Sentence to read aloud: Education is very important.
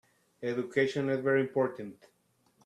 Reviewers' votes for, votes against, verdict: 0, 2, rejected